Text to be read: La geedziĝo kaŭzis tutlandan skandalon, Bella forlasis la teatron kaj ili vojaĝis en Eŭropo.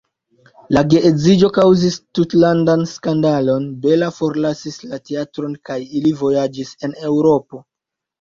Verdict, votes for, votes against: accepted, 2, 0